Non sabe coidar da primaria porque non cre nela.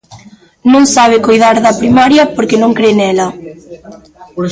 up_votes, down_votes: 0, 2